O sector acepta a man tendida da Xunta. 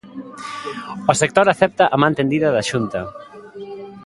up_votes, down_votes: 1, 2